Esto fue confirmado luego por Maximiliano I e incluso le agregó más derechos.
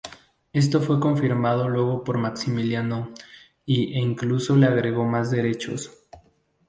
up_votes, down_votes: 2, 0